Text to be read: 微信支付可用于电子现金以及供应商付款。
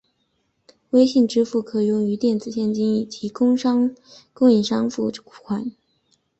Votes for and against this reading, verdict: 3, 3, rejected